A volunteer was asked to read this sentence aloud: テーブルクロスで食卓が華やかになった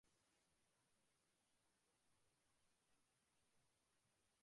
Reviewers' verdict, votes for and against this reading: rejected, 0, 2